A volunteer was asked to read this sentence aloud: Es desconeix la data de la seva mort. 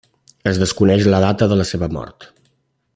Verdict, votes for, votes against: accepted, 3, 0